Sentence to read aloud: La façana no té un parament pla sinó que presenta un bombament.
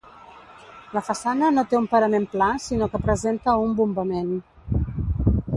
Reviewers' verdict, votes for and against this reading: rejected, 2, 3